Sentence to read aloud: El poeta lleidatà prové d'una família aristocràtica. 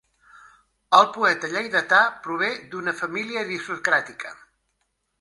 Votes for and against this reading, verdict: 2, 1, accepted